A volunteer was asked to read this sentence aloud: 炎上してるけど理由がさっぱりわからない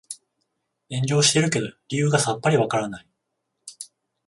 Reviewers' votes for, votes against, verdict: 14, 7, accepted